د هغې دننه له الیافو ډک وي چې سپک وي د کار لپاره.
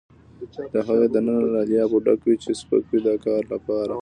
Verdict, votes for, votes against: accepted, 2, 0